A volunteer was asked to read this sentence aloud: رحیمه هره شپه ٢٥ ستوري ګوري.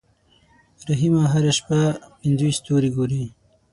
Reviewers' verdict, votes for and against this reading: rejected, 0, 2